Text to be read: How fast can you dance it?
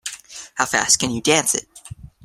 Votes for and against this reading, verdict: 3, 0, accepted